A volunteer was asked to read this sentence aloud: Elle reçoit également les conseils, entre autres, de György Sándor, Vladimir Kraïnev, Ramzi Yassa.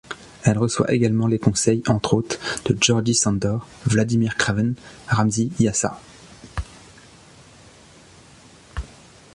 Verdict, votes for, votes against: rejected, 0, 2